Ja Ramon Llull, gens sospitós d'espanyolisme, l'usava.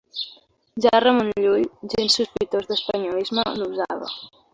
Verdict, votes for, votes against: accepted, 2, 0